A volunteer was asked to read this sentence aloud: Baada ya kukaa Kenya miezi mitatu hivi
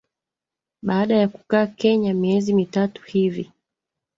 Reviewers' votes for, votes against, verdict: 0, 2, rejected